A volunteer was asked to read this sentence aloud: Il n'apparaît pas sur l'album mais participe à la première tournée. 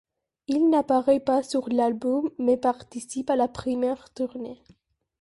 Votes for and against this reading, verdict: 0, 2, rejected